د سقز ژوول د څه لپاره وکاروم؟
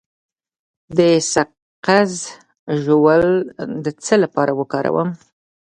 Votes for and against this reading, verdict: 2, 0, accepted